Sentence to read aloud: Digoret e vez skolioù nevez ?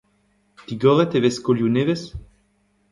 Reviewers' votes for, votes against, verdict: 1, 2, rejected